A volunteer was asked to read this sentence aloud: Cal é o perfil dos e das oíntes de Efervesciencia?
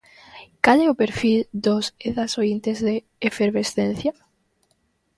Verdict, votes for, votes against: rejected, 0, 2